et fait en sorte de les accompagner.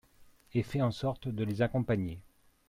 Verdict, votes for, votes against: accepted, 2, 0